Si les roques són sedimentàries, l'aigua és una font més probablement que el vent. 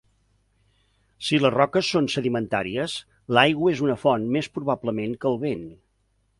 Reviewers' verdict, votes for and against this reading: accepted, 2, 0